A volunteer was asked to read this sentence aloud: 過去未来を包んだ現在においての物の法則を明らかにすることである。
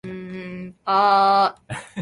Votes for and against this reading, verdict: 0, 3, rejected